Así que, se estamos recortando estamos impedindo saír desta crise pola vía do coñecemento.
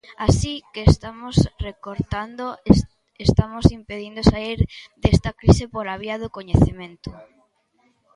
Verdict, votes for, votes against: rejected, 0, 2